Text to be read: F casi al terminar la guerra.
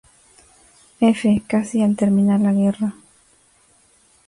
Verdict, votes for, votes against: accepted, 2, 0